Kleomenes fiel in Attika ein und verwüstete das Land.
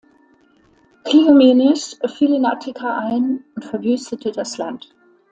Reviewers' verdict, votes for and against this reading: accepted, 2, 0